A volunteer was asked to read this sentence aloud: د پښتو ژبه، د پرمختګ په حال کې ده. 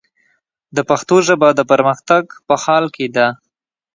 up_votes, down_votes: 2, 0